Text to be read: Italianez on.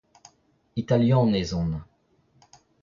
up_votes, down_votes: 2, 0